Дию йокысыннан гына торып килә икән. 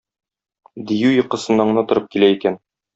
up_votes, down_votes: 2, 0